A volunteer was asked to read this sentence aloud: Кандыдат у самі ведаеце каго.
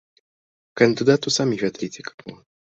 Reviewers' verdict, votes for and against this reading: rejected, 1, 2